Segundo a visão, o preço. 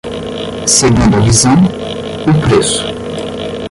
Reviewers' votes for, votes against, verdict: 10, 5, accepted